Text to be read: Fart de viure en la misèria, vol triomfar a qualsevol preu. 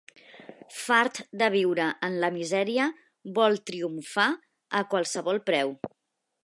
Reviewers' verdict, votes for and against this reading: accepted, 3, 0